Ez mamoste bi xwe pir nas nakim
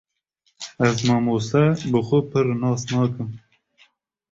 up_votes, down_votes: 2, 0